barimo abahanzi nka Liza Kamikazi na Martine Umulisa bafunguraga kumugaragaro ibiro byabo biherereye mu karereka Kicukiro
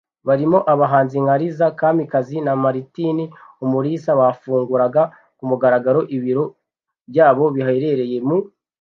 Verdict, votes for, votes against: rejected, 1, 2